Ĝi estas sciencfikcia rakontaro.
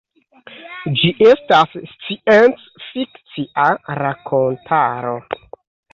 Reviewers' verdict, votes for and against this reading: rejected, 2, 3